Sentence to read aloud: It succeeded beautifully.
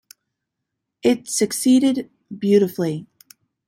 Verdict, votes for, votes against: accepted, 2, 0